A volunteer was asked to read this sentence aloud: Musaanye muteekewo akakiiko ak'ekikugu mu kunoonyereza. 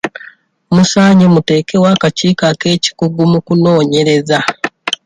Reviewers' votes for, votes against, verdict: 2, 1, accepted